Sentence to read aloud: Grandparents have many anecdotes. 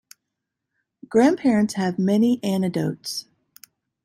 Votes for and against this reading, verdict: 1, 2, rejected